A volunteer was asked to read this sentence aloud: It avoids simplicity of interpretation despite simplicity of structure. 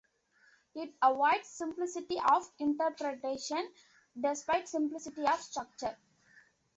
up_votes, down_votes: 1, 2